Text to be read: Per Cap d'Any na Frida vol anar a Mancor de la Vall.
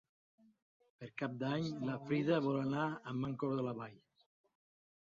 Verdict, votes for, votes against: accepted, 2, 0